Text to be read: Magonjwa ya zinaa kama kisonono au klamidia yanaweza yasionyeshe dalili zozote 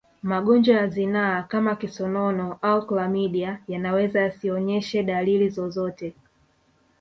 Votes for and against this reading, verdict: 0, 2, rejected